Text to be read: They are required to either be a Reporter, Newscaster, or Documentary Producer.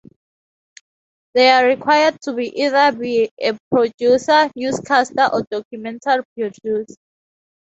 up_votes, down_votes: 0, 4